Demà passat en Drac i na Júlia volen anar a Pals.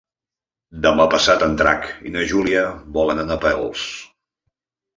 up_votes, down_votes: 1, 2